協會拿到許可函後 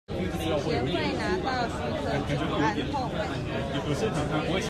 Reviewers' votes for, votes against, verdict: 0, 2, rejected